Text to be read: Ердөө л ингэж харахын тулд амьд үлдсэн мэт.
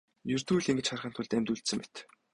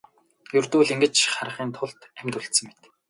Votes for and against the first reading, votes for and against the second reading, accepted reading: 0, 2, 2, 0, second